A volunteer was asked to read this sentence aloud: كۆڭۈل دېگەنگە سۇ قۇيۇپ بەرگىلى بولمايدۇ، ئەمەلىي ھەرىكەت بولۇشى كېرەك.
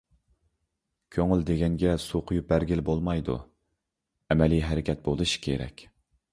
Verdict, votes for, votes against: accepted, 2, 0